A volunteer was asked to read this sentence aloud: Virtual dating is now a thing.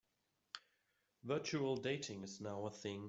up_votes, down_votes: 2, 0